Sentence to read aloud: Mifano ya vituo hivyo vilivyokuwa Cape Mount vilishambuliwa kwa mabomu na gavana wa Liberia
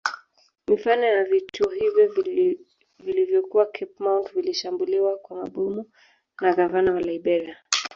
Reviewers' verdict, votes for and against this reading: rejected, 1, 2